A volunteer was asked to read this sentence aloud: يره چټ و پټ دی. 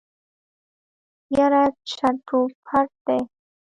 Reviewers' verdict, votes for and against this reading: accepted, 3, 1